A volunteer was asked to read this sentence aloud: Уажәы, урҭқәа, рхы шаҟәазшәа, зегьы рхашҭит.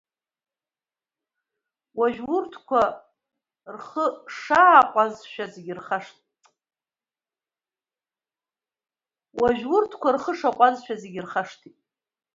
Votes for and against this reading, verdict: 2, 0, accepted